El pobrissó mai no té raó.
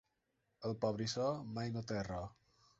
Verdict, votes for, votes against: accepted, 2, 0